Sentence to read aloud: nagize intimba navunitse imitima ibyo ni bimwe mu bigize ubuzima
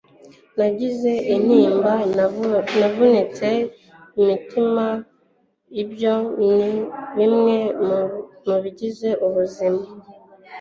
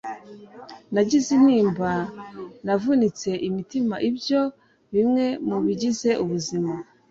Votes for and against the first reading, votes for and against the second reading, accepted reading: 1, 2, 2, 0, second